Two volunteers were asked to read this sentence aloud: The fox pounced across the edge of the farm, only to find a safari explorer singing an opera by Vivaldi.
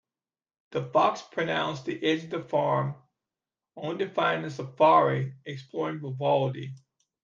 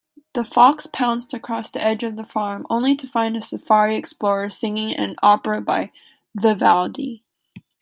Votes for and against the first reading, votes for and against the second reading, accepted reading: 0, 2, 2, 0, second